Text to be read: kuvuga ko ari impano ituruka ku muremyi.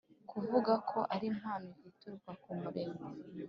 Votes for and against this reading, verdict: 3, 0, accepted